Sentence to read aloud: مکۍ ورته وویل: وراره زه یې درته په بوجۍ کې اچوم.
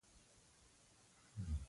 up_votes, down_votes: 0, 2